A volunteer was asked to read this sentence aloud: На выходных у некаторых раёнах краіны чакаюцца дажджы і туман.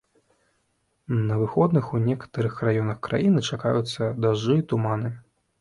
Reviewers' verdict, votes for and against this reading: rejected, 0, 2